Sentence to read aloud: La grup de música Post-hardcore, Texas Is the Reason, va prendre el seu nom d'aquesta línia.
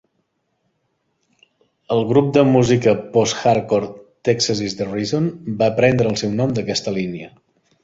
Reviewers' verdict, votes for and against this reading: rejected, 1, 2